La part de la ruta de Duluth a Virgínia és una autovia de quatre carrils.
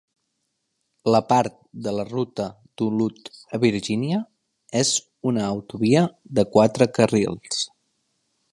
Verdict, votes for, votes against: rejected, 1, 2